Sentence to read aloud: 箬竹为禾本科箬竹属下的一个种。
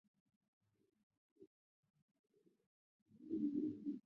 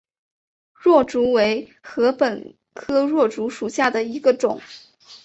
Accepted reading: second